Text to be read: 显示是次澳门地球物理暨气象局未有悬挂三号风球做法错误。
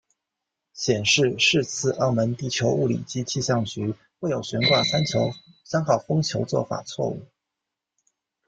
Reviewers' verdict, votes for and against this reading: rejected, 1, 2